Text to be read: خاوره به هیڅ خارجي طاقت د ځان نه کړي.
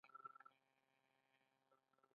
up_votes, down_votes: 0, 2